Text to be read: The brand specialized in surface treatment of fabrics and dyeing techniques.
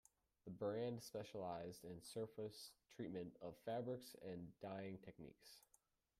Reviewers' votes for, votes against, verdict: 0, 2, rejected